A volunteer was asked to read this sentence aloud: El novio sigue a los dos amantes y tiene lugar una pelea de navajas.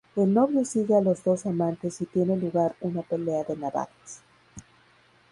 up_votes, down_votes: 0, 2